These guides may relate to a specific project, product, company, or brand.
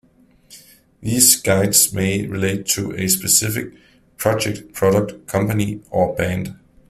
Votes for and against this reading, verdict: 0, 2, rejected